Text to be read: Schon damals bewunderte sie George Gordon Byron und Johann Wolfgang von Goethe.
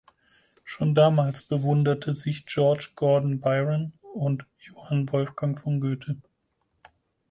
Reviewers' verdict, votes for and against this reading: rejected, 2, 4